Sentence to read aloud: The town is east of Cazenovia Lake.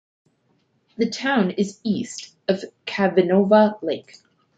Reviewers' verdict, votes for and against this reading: rejected, 0, 2